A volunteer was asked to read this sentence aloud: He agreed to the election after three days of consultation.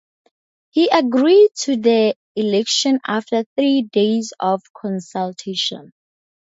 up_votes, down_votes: 2, 0